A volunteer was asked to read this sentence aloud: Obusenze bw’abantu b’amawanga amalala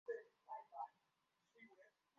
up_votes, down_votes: 1, 2